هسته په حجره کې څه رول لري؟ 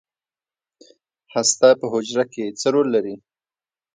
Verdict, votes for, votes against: accepted, 2, 0